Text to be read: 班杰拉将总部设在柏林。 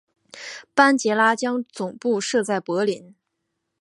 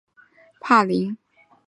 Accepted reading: first